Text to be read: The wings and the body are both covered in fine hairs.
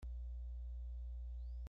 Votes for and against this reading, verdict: 0, 2, rejected